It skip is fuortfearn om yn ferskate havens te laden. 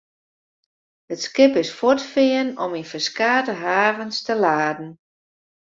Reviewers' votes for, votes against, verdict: 2, 0, accepted